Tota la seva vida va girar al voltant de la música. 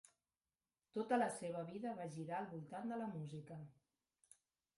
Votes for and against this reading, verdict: 0, 2, rejected